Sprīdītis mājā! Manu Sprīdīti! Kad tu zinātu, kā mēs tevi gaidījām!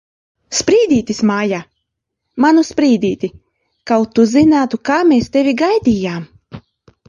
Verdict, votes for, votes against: rejected, 0, 2